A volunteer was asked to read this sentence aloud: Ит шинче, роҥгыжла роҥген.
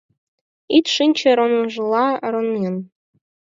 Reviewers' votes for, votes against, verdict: 4, 6, rejected